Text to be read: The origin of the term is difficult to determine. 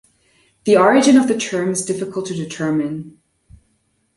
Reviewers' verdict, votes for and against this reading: rejected, 1, 2